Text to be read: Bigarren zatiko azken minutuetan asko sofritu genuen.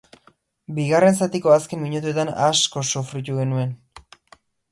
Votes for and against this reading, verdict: 2, 0, accepted